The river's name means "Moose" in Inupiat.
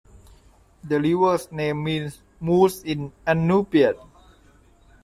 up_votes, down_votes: 2, 0